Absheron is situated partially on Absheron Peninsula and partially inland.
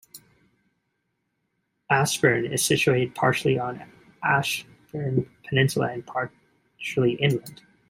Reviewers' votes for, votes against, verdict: 2, 0, accepted